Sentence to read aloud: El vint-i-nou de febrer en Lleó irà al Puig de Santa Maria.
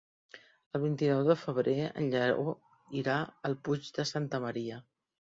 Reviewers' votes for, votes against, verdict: 0, 2, rejected